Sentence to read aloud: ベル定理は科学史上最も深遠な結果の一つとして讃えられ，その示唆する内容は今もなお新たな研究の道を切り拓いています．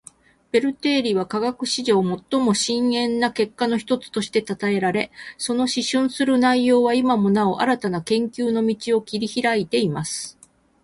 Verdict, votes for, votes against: rejected, 2, 4